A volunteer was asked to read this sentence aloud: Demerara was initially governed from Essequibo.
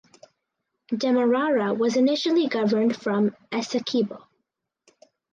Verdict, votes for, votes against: accepted, 4, 0